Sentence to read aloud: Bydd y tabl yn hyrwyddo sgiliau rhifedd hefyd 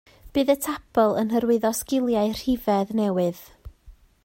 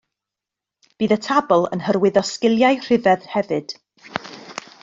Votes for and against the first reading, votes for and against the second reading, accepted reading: 0, 2, 2, 0, second